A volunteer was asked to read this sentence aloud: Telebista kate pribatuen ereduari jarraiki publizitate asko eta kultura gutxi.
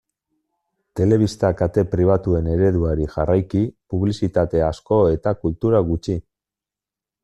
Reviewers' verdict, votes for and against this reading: accepted, 2, 0